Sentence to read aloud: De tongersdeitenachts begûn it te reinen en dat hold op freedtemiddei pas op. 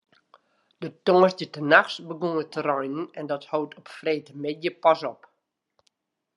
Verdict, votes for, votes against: accepted, 2, 0